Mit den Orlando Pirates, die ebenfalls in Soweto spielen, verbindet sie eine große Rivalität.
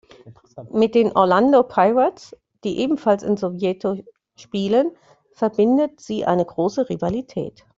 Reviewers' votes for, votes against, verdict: 0, 2, rejected